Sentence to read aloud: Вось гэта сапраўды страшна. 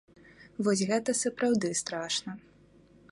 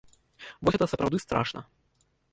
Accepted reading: first